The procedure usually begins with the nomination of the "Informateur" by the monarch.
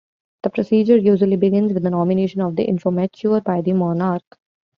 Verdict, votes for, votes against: accepted, 2, 0